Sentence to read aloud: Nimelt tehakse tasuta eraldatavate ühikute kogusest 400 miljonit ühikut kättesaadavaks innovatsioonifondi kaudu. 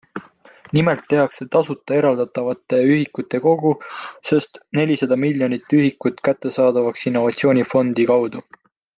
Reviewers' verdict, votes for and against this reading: rejected, 0, 2